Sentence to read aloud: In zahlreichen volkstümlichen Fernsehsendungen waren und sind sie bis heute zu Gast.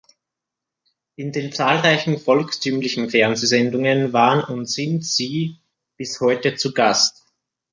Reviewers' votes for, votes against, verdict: 0, 2, rejected